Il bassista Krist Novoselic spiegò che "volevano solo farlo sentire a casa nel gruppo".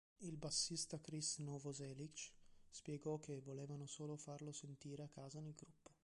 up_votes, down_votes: 2, 1